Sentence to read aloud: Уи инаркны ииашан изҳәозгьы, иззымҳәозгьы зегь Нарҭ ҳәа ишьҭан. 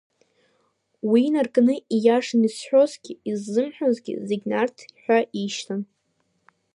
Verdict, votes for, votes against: accepted, 2, 0